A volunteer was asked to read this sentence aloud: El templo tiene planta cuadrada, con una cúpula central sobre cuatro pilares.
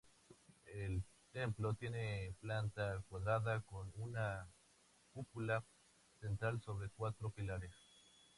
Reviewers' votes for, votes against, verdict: 2, 0, accepted